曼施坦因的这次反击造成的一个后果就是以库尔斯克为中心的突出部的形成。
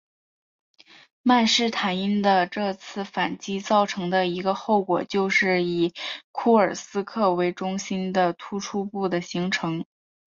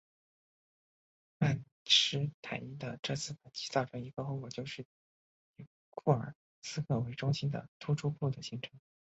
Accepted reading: first